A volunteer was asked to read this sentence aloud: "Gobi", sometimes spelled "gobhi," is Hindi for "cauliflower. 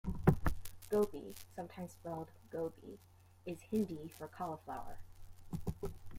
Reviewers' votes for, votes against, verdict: 2, 0, accepted